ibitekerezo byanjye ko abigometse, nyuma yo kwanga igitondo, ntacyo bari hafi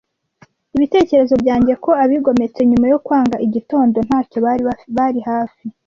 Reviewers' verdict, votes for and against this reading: rejected, 1, 2